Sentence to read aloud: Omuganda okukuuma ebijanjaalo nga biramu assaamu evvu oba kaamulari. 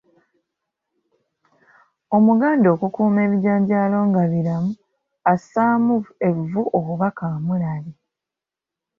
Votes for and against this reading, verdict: 2, 1, accepted